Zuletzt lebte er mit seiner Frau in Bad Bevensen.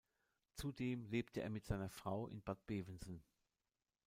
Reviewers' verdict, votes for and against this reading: rejected, 0, 2